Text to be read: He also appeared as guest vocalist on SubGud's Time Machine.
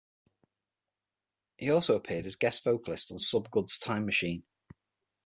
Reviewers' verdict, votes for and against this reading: accepted, 6, 0